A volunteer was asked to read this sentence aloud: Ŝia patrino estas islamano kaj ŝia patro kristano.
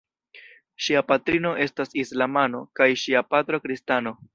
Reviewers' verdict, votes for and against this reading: accepted, 2, 0